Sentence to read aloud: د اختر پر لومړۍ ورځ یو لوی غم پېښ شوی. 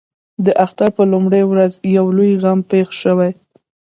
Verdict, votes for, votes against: rejected, 0, 2